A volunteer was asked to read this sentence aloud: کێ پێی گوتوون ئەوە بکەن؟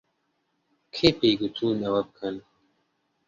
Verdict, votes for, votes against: accepted, 2, 0